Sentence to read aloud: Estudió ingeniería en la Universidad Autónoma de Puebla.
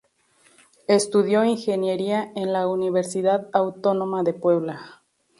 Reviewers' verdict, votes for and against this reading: accepted, 2, 0